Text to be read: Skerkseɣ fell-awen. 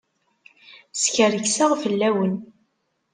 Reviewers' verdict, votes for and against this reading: accepted, 3, 0